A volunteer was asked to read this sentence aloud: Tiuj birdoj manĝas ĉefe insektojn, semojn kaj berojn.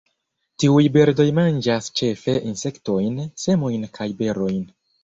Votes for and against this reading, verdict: 1, 2, rejected